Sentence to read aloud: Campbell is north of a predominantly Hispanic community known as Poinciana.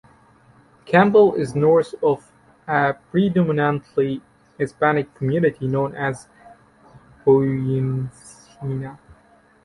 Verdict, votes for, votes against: rejected, 0, 2